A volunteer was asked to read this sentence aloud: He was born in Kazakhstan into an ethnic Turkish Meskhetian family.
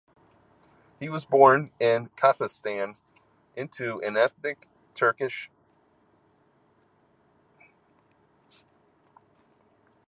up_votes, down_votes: 0, 2